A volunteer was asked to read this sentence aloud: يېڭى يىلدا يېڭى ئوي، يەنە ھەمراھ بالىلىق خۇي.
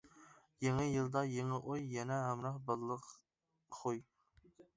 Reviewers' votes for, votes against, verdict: 2, 0, accepted